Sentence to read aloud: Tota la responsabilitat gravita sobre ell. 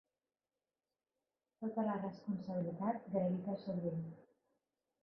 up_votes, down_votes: 0, 2